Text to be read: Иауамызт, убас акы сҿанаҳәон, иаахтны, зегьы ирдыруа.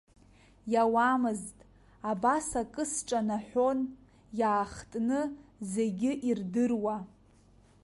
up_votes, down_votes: 0, 2